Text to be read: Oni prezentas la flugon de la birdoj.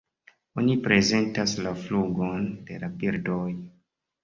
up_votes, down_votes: 2, 0